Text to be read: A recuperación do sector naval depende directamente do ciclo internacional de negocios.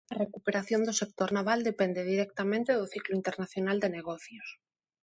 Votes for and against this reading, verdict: 2, 0, accepted